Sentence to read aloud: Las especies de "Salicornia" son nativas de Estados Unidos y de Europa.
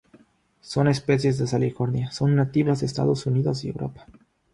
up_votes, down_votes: 0, 3